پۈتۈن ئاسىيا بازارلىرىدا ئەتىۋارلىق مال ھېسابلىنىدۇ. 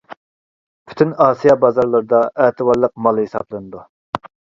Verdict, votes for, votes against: accepted, 2, 0